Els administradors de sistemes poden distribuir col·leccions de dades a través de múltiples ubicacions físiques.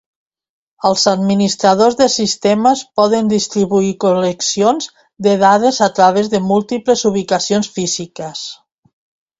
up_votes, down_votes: 2, 0